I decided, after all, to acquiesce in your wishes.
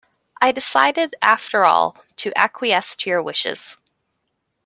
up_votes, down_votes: 1, 2